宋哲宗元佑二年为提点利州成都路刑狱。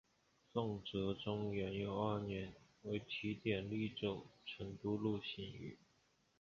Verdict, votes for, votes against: rejected, 0, 2